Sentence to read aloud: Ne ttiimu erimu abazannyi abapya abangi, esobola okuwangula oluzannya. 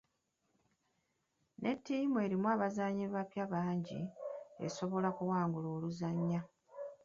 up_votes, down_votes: 0, 2